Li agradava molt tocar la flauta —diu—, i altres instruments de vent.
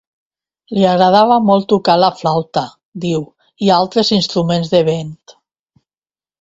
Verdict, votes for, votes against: accepted, 2, 0